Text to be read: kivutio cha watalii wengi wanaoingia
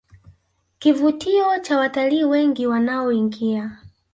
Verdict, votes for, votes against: rejected, 1, 2